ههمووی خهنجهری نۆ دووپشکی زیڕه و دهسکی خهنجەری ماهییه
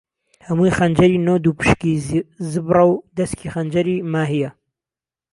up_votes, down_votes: 1, 2